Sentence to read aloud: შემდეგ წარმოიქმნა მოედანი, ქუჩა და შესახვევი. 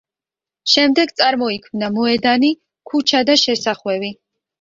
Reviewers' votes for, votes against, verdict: 2, 0, accepted